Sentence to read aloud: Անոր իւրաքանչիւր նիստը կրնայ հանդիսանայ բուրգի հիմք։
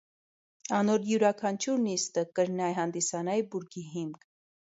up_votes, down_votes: 0, 2